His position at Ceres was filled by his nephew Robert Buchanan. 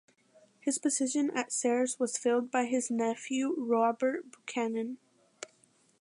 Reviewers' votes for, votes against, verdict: 2, 0, accepted